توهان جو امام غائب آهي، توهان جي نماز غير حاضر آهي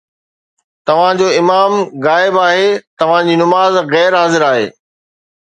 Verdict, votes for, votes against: accepted, 2, 0